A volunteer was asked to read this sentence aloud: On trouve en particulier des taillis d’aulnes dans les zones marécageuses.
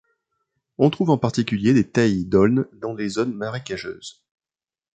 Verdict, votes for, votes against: accepted, 2, 1